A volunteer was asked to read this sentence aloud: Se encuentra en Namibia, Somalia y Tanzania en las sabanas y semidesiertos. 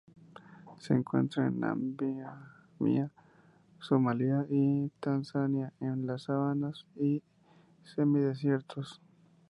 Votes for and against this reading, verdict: 0, 2, rejected